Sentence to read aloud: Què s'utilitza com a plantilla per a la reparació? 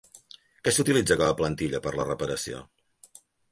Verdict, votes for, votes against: rejected, 2, 3